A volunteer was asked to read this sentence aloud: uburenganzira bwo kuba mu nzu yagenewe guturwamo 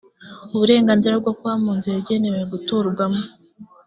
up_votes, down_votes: 2, 0